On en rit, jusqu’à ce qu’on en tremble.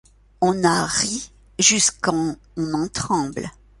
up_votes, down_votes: 0, 2